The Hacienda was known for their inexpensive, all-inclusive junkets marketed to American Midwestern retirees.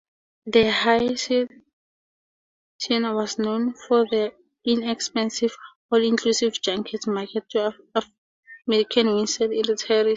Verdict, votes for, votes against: rejected, 0, 2